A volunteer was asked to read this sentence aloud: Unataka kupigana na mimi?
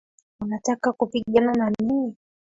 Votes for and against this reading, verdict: 0, 2, rejected